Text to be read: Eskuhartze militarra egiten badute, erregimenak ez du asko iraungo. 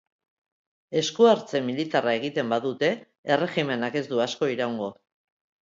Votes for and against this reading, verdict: 2, 0, accepted